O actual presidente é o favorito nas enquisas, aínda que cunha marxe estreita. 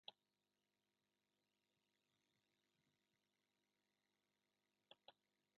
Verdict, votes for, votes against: rejected, 0, 2